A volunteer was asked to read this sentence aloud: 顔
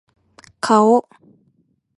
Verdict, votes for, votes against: accepted, 2, 0